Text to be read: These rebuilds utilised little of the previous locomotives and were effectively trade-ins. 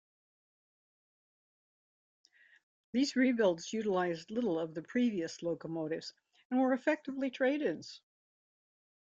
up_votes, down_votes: 2, 0